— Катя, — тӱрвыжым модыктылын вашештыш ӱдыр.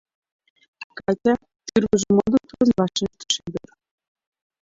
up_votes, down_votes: 1, 2